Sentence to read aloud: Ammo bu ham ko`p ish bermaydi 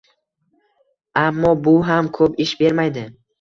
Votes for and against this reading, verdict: 2, 1, accepted